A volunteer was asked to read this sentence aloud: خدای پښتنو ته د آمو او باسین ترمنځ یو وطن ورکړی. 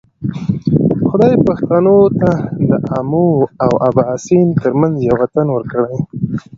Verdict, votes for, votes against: accepted, 2, 0